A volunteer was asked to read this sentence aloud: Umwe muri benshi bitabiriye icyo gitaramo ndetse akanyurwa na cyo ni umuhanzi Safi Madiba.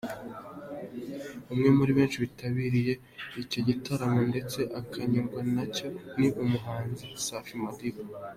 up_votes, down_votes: 2, 0